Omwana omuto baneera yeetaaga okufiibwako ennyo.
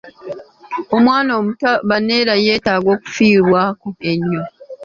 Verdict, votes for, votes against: accepted, 2, 0